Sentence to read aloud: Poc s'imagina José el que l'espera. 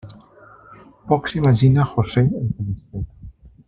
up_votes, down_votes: 0, 2